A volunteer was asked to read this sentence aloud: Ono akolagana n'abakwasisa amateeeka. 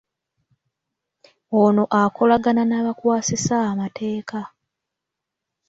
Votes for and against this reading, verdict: 2, 0, accepted